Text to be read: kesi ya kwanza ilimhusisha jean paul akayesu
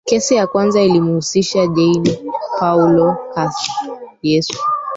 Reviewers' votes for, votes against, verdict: 0, 2, rejected